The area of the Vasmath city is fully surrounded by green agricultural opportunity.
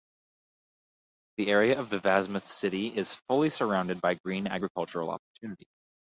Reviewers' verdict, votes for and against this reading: rejected, 0, 4